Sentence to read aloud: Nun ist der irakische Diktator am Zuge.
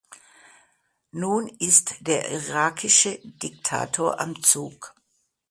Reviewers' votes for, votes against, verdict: 0, 2, rejected